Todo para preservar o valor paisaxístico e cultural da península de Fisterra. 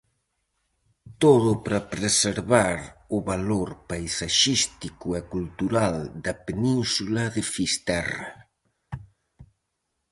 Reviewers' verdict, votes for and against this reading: accepted, 4, 0